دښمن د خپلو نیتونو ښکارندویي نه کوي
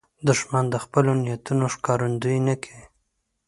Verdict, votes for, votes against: accepted, 2, 0